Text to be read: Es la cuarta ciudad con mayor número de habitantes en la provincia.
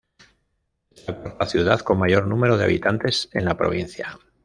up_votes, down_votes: 1, 2